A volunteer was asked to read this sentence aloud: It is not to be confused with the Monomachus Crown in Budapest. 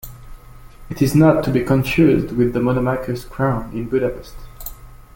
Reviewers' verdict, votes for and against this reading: accepted, 2, 0